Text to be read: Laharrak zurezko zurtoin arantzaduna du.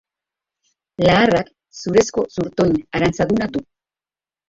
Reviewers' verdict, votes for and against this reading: rejected, 0, 3